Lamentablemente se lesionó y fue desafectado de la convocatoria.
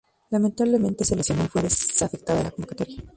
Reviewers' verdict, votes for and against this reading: accepted, 2, 0